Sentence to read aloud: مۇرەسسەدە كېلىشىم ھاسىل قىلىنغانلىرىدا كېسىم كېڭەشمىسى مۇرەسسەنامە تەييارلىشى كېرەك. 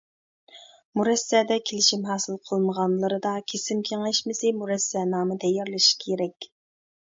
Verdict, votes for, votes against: rejected, 1, 2